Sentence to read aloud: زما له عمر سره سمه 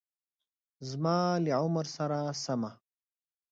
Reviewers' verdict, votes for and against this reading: accepted, 2, 1